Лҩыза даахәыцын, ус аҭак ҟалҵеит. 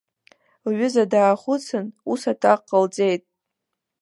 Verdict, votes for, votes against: rejected, 1, 2